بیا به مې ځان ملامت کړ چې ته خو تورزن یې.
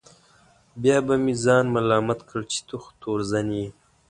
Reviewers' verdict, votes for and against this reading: accepted, 2, 0